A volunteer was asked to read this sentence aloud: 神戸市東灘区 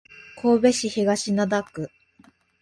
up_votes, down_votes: 2, 0